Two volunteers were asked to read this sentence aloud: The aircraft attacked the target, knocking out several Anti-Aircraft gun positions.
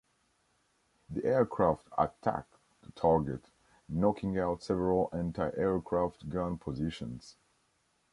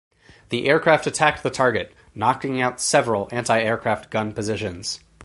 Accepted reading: first